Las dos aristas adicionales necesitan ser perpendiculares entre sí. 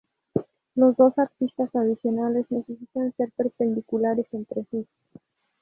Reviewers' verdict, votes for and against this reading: rejected, 0, 2